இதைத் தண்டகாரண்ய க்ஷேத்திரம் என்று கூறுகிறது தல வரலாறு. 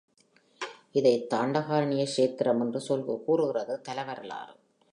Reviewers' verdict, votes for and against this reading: accepted, 3, 0